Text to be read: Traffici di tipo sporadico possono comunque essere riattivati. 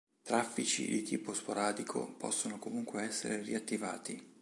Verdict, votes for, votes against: accepted, 2, 0